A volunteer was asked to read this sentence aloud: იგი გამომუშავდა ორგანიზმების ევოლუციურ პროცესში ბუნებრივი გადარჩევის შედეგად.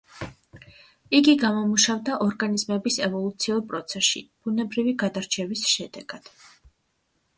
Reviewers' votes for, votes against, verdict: 2, 0, accepted